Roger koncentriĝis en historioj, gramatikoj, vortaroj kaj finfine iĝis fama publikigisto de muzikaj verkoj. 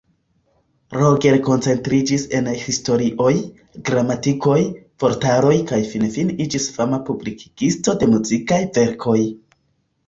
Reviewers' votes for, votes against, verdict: 0, 2, rejected